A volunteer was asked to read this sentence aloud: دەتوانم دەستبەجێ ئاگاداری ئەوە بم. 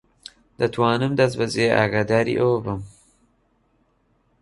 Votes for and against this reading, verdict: 2, 0, accepted